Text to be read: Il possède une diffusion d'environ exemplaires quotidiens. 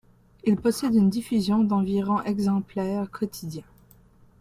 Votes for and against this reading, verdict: 1, 2, rejected